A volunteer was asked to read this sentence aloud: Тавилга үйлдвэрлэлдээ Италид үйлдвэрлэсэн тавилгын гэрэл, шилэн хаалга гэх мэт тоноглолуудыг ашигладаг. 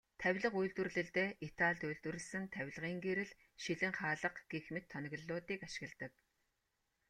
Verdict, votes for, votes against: accepted, 2, 0